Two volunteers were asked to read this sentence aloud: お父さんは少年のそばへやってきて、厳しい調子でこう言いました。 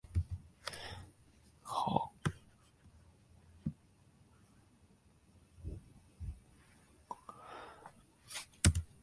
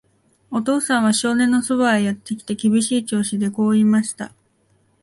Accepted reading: second